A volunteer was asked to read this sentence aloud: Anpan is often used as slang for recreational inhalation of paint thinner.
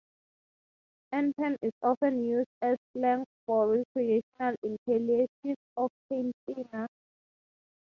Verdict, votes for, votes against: accepted, 3, 0